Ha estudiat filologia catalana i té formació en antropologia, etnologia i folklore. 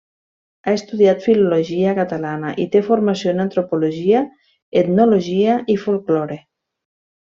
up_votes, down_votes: 3, 0